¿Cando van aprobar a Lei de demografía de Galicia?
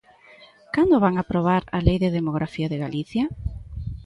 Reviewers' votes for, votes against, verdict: 2, 0, accepted